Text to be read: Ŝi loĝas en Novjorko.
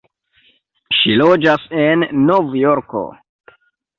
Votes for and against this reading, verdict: 2, 1, accepted